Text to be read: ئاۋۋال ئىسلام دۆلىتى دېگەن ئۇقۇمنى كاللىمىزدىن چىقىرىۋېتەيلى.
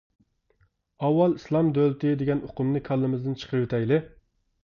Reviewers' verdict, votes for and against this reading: accepted, 2, 0